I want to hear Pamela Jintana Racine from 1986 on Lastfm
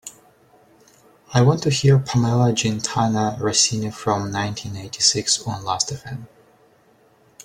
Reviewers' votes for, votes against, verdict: 0, 2, rejected